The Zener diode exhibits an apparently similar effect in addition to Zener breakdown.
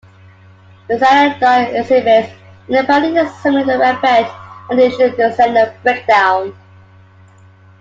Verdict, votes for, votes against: rejected, 0, 2